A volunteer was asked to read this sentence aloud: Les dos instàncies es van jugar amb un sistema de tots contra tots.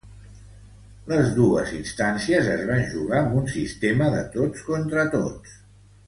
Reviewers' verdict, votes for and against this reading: rejected, 0, 2